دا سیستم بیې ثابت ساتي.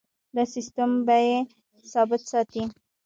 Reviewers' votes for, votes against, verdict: 0, 2, rejected